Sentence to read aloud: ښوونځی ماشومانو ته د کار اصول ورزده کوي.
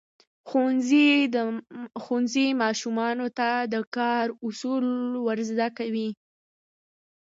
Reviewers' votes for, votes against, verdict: 2, 0, accepted